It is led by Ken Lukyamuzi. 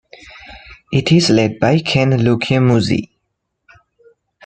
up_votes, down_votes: 2, 0